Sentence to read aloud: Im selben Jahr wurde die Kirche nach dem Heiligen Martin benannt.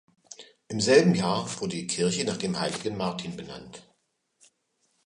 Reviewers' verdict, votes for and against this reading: rejected, 1, 2